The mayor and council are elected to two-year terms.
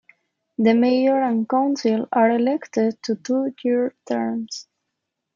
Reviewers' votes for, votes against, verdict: 2, 1, accepted